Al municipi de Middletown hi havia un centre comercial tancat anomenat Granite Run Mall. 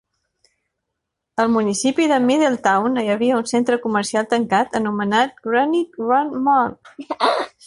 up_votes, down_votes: 0, 2